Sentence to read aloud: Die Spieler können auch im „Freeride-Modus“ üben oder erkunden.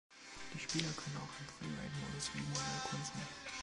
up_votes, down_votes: 0, 2